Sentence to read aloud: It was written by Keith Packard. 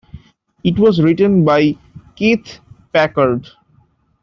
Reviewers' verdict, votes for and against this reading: accepted, 2, 1